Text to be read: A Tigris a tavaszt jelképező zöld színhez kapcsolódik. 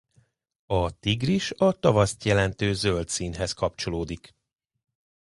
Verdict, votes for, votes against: rejected, 0, 2